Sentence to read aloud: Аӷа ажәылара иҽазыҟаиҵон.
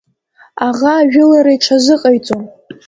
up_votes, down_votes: 2, 0